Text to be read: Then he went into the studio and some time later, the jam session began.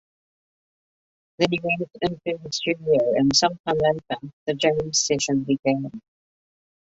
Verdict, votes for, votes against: rejected, 1, 2